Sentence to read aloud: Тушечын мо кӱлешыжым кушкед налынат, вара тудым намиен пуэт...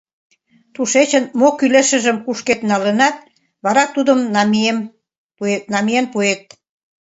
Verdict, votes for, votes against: rejected, 0, 2